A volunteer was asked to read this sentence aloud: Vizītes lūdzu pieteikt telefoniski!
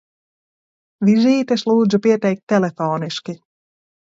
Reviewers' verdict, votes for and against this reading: accepted, 2, 0